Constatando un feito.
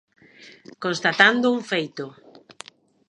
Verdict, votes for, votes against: accepted, 2, 0